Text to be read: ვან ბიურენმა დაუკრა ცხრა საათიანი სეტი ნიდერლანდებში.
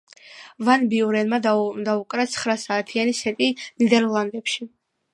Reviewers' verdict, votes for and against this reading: rejected, 0, 2